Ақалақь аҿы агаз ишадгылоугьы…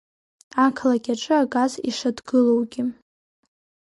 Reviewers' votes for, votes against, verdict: 2, 0, accepted